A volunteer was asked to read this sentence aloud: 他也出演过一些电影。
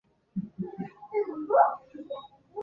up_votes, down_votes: 2, 6